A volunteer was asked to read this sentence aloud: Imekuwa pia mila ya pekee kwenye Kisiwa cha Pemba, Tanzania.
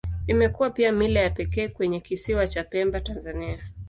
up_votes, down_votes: 2, 0